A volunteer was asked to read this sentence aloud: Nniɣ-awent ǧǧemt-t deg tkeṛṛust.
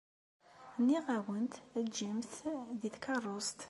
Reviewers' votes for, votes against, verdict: 2, 0, accepted